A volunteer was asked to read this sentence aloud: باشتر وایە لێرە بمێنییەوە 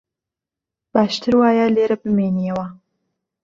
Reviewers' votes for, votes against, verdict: 2, 0, accepted